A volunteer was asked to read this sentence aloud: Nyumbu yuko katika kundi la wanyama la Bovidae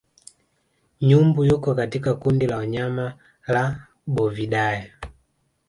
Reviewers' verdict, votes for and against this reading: accepted, 2, 1